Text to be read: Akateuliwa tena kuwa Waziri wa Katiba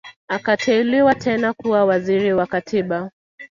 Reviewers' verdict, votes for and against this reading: accepted, 2, 0